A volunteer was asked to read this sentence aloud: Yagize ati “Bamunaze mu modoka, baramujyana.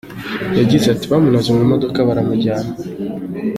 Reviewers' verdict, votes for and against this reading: accepted, 3, 0